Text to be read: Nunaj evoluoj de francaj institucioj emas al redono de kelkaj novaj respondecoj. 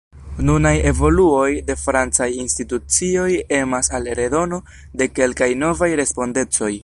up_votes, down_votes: 2, 0